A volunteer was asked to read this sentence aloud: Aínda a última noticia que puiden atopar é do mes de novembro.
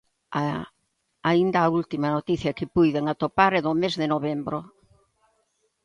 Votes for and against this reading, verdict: 2, 1, accepted